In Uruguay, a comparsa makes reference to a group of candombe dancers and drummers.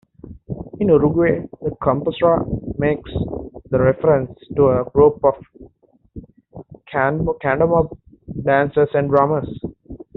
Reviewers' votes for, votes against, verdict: 1, 2, rejected